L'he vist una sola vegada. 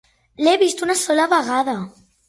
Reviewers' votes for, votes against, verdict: 4, 0, accepted